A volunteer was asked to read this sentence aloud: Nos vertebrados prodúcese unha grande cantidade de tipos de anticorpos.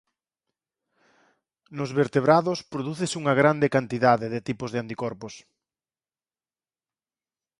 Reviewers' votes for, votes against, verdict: 4, 0, accepted